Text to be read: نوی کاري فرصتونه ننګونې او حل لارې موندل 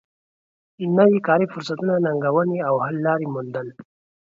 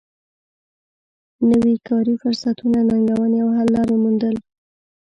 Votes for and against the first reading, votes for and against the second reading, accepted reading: 2, 0, 1, 2, first